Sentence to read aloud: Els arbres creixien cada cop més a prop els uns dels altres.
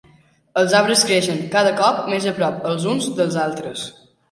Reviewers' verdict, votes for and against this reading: rejected, 1, 2